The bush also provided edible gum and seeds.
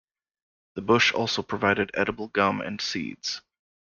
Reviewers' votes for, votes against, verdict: 2, 1, accepted